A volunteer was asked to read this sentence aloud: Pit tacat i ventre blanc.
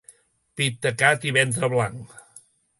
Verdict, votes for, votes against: accepted, 2, 0